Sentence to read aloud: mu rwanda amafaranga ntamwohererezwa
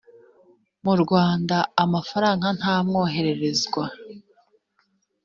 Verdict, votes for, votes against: accepted, 2, 0